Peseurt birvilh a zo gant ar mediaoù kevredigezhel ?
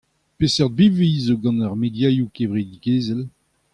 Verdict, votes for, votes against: accepted, 2, 0